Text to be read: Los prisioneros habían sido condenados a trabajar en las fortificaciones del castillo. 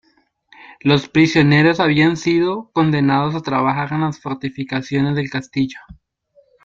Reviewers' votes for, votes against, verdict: 1, 2, rejected